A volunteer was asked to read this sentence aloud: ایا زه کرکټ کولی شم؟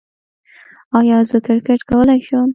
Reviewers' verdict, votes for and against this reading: rejected, 1, 2